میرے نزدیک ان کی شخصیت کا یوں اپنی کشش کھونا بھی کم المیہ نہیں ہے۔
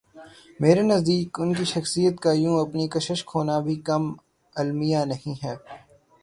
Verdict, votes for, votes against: rejected, 0, 3